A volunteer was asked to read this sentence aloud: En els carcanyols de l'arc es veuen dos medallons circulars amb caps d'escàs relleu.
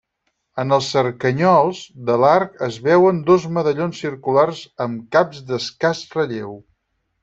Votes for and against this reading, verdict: 0, 4, rejected